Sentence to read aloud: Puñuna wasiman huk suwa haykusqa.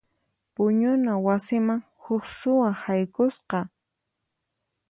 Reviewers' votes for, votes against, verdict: 4, 0, accepted